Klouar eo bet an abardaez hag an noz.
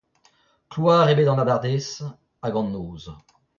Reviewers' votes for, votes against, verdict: 0, 2, rejected